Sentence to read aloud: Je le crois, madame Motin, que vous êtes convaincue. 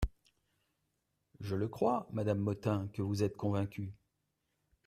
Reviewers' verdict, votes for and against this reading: accepted, 2, 0